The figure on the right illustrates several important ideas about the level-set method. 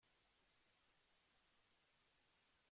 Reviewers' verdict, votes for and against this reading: rejected, 0, 2